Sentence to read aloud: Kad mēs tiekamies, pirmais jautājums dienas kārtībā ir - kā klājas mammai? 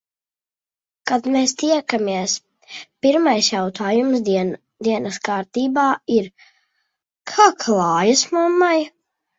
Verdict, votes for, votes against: rejected, 0, 2